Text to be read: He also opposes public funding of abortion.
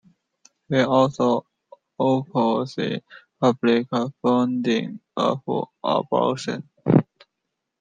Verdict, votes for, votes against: rejected, 0, 2